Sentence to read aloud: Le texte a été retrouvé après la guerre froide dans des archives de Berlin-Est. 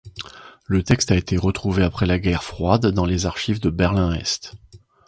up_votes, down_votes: 1, 2